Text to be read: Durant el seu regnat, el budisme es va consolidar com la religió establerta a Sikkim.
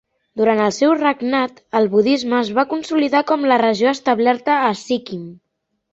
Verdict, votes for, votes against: rejected, 2, 3